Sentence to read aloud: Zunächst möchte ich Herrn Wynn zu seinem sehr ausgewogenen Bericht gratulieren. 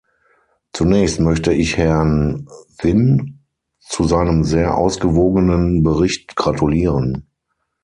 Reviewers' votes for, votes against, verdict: 0, 6, rejected